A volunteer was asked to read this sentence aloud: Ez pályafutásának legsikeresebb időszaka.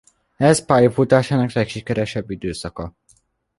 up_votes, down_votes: 2, 0